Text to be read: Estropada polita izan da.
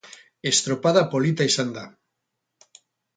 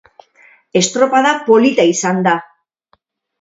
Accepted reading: second